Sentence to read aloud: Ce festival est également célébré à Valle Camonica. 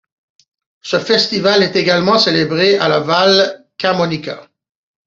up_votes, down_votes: 0, 2